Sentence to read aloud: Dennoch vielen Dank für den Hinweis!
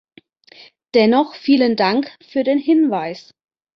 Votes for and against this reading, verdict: 2, 0, accepted